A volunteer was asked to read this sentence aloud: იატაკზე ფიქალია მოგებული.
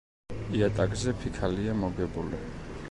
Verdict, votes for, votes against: accepted, 2, 0